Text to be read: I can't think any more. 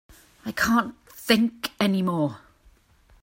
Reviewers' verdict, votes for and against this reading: accepted, 4, 0